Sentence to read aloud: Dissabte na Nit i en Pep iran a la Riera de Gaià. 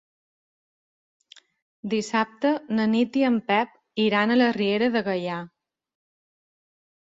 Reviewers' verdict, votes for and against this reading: accepted, 2, 0